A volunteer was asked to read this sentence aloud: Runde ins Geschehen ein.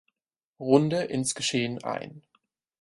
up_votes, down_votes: 4, 0